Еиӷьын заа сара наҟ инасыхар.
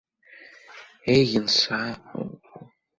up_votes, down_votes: 0, 3